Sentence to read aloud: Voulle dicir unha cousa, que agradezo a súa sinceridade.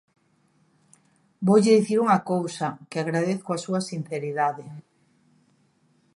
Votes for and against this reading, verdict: 1, 2, rejected